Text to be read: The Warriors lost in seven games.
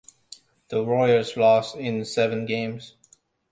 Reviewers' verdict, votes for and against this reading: accepted, 2, 0